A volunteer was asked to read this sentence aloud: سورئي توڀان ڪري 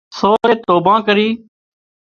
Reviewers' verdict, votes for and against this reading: rejected, 0, 2